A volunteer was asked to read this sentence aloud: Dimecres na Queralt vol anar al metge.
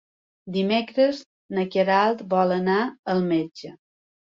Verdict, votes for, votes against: accepted, 3, 0